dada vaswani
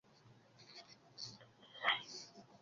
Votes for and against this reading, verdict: 0, 2, rejected